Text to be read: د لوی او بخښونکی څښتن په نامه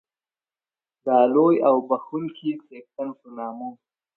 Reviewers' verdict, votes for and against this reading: accepted, 2, 0